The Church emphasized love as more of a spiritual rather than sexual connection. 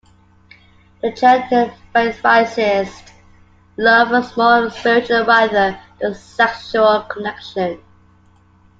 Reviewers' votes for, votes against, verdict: 2, 1, accepted